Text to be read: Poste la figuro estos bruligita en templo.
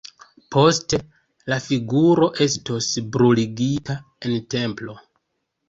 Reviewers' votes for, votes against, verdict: 2, 0, accepted